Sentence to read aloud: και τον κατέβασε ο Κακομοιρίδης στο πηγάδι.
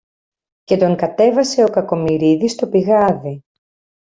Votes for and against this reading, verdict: 2, 0, accepted